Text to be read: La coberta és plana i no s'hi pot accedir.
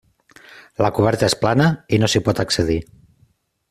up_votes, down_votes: 3, 0